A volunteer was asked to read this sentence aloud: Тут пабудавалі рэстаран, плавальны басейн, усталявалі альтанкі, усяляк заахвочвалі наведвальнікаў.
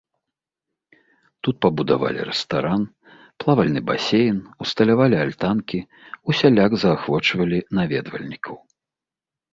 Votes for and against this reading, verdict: 2, 0, accepted